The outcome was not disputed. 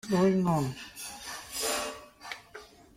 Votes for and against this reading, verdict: 0, 2, rejected